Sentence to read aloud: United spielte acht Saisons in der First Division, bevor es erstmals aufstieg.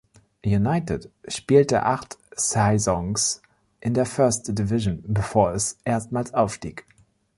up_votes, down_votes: 1, 2